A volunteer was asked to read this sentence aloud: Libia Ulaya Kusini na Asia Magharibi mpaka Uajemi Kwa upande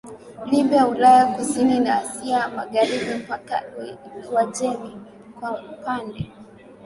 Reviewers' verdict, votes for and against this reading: accepted, 2, 1